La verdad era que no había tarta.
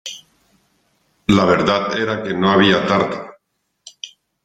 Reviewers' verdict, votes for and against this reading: accepted, 2, 0